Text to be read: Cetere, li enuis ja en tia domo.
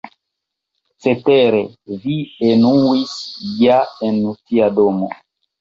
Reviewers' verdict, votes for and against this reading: rejected, 0, 2